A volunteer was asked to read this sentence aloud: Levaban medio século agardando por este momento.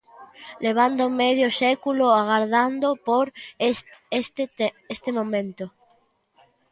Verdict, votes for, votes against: rejected, 0, 2